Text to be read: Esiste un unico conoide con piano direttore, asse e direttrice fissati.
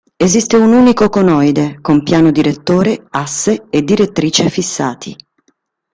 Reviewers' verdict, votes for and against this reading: accepted, 2, 0